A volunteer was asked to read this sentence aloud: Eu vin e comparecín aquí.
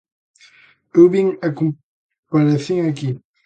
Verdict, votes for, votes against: rejected, 0, 2